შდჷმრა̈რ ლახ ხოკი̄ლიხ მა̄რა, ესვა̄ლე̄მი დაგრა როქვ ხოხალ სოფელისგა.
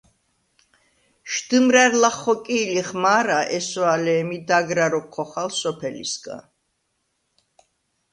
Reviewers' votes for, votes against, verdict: 2, 0, accepted